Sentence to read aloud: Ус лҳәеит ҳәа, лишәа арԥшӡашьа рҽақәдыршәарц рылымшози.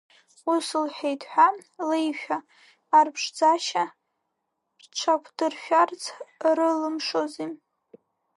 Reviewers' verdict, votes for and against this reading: rejected, 2, 3